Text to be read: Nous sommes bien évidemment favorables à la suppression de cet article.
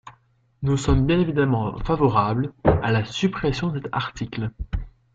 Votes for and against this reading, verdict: 0, 2, rejected